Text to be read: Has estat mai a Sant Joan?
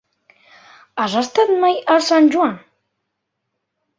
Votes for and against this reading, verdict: 3, 0, accepted